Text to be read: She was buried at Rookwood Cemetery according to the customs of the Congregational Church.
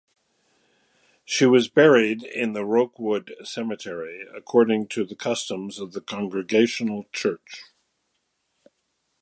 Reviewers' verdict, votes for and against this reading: accepted, 2, 1